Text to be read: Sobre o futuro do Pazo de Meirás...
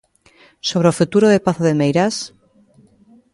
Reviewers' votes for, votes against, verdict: 0, 2, rejected